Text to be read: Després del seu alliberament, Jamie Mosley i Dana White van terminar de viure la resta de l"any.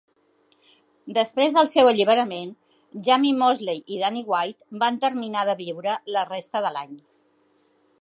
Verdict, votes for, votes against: rejected, 0, 2